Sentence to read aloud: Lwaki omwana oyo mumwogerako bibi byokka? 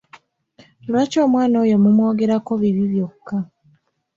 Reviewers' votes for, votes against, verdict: 2, 0, accepted